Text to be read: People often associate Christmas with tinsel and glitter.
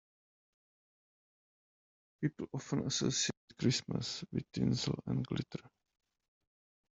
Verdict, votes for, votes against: accepted, 2, 0